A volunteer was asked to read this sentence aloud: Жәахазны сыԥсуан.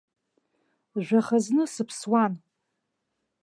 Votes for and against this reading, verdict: 2, 1, accepted